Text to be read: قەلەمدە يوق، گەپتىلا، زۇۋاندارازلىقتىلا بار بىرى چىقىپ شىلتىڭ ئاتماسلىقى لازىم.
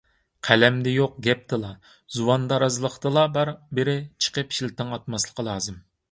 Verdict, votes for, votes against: accepted, 2, 0